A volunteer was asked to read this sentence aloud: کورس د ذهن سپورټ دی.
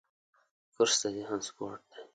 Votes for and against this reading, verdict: 8, 0, accepted